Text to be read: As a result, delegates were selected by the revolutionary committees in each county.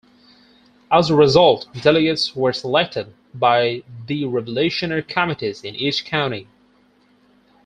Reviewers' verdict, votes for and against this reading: rejected, 0, 4